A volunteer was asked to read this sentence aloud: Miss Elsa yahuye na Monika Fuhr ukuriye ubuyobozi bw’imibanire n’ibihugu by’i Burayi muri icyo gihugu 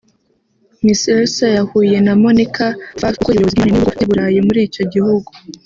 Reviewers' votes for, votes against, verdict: 0, 3, rejected